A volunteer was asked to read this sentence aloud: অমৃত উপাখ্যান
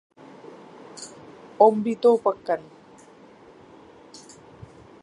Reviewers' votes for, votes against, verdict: 2, 4, rejected